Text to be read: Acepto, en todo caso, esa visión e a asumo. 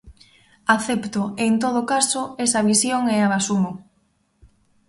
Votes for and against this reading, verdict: 0, 2, rejected